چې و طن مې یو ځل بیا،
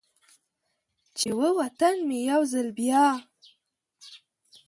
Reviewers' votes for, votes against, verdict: 0, 2, rejected